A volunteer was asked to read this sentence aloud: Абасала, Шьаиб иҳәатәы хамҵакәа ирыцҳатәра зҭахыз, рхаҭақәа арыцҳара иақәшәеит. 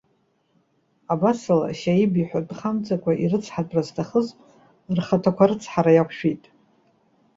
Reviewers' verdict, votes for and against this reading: accepted, 2, 0